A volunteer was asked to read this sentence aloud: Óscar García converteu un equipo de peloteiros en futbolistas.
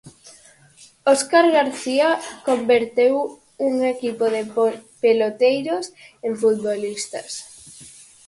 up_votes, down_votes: 0, 4